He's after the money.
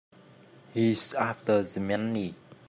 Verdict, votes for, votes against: rejected, 0, 2